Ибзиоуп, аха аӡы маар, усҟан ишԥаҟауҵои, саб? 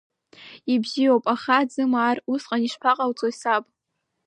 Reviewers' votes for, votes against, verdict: 1, 2, rejected